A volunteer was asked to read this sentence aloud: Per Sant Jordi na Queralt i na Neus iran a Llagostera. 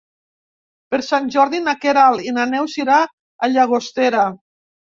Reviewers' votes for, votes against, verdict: 2, 3, rejected